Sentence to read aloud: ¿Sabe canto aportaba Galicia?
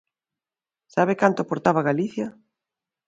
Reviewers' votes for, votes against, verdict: 2, 0, accepted